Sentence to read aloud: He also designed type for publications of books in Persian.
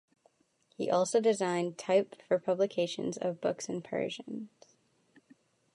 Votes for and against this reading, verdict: 2, 0, accepted